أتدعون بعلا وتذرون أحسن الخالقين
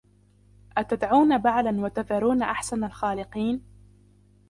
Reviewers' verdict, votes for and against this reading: accepted, 2, 0